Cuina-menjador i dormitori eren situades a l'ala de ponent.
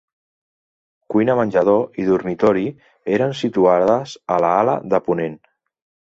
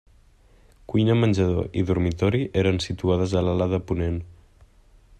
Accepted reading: second